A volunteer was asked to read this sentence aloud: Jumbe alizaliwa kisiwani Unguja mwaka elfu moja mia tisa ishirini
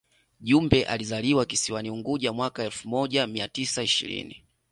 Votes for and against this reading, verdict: 2, 0, accepted